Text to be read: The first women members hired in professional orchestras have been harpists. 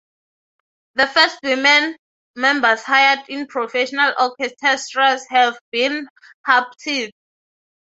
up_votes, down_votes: 0, 9